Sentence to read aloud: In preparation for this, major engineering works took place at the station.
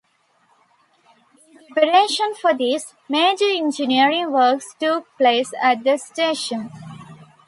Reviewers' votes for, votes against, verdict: 2, 0, accepted